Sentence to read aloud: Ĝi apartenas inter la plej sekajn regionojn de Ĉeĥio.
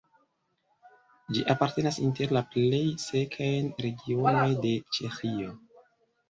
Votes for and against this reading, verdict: 0, 2, rejected